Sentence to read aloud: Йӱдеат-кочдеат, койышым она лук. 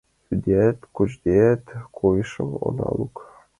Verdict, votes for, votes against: accepted, 2, 0